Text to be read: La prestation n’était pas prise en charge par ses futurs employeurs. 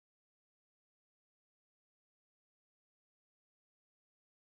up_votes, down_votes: 0, 2